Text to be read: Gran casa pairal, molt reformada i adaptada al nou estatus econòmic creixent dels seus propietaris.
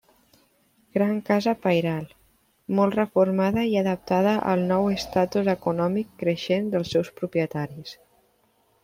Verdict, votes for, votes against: accepted, 2, 1